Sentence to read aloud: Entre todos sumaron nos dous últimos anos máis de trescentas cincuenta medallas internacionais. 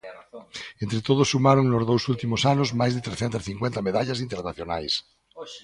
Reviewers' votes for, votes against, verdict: 1, 2, rejected